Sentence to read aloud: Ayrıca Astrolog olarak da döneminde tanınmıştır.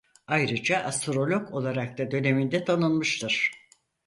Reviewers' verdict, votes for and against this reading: accepted, 4, 0